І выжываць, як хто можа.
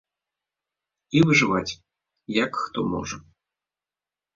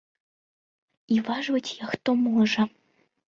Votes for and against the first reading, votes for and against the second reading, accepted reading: 2, 0, 0, 2, first